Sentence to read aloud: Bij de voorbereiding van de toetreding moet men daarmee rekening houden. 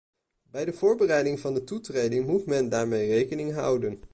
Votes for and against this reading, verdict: 0, 2, rejected